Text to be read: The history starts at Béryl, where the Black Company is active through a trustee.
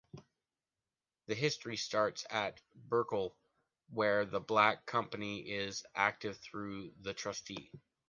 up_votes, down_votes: 0, 2